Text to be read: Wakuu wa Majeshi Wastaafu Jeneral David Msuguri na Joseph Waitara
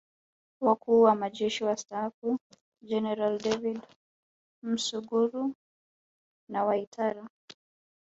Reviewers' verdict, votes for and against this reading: accepted, 2, 1